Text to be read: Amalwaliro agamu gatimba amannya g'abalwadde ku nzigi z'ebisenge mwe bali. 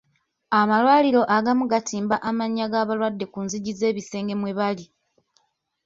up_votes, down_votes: 2, 0